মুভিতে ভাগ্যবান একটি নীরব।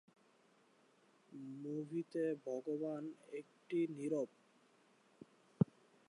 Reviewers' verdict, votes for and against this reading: rejected, 1, 4